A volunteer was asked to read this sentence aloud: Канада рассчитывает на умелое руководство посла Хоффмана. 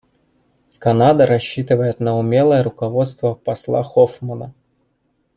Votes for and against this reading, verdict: 2, 0, accepted